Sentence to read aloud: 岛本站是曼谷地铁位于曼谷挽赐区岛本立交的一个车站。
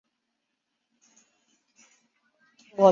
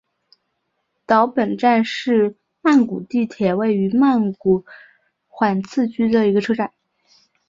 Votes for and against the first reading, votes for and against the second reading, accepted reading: 0, 4, 5, 1, second